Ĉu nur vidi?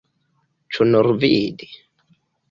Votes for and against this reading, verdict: 2, 0, accepted